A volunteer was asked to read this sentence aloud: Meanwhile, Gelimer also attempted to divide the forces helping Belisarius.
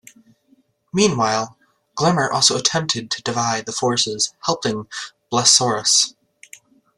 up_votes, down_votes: 0, 2